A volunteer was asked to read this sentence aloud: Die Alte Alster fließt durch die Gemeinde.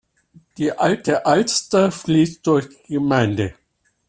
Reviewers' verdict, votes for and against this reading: accepted, 2, 1